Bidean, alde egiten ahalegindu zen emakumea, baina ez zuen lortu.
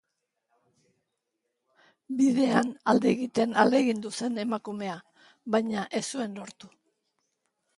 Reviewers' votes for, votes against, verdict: 2, 0, accepted